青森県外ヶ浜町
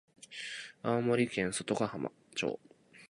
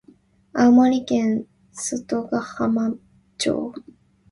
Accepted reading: second